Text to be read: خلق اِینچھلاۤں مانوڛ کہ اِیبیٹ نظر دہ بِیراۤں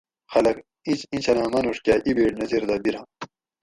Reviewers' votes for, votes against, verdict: 4, 0, accepted